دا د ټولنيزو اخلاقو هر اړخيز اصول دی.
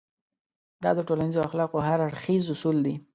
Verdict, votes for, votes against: accepted, 2, 0